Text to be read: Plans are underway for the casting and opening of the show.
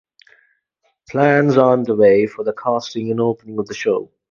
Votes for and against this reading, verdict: 0, 2, rejected